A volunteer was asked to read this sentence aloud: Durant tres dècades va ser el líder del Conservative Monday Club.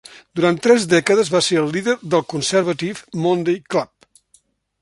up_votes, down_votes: 2, 0